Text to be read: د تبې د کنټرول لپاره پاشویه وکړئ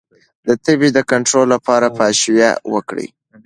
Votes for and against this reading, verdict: 2, 0, accepted